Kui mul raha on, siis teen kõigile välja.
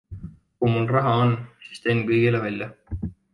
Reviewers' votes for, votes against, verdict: 2, 0, accepted